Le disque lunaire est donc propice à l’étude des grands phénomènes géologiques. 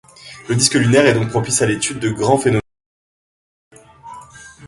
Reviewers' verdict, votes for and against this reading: rejected, 0, 2